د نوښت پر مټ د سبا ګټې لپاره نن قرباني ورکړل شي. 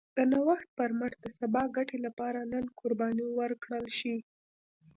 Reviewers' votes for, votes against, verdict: 2, 0, accepted